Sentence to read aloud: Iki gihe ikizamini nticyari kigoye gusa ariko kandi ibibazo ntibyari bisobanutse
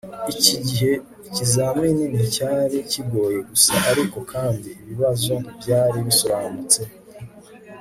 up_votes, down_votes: 2, 1